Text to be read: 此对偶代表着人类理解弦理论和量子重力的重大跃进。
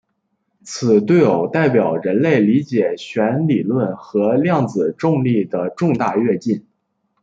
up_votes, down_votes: 1, 2